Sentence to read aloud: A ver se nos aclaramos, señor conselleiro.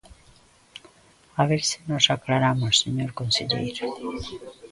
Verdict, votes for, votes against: rejected, 1, 2